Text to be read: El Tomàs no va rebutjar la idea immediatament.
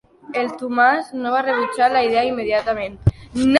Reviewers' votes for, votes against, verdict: 2, 1, accepted